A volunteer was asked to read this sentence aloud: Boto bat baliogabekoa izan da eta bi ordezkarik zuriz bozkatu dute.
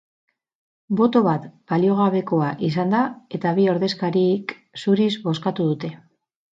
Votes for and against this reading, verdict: 0, 2, rejected